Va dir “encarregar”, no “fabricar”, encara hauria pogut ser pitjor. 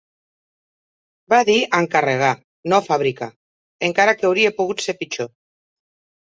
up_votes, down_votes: 1, 2